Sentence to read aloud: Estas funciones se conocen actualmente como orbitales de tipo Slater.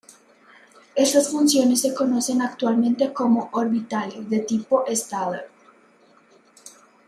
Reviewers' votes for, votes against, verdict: 1, 2, rejected